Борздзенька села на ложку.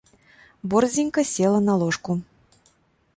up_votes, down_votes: 2, 0